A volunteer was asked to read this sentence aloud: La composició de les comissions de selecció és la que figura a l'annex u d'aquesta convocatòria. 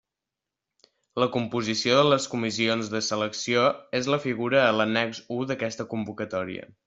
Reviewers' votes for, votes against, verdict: 0, 2, rejected